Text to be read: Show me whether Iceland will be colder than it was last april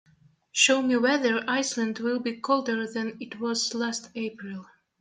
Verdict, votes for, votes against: accepted, 2, 0